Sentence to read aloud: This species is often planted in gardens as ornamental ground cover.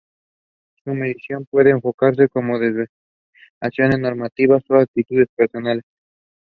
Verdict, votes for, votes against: rejected, 0, 2